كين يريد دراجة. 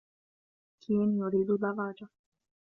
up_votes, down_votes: 1, 2